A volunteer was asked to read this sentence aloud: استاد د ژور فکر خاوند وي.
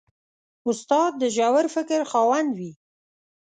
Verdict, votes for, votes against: accepted, 2, 0